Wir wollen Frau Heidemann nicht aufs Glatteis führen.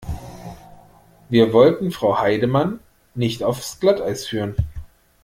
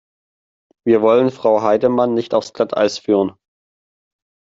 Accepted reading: second